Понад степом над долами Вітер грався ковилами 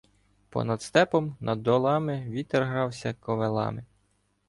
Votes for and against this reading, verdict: 2, 0, accepted